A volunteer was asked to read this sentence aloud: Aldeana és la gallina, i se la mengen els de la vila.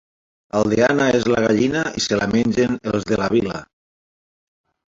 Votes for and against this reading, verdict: 1, 2, rejected